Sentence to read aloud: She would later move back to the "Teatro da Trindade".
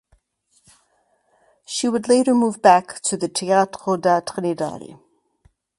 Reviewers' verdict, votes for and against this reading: rejected, 2, 2